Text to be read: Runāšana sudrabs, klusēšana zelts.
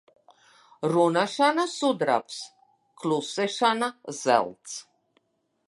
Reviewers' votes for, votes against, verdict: 3, 1, accepted